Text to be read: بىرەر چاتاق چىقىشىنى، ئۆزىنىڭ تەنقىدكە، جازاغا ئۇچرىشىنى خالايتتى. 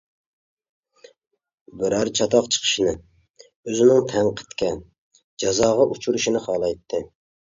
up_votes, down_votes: 2, 0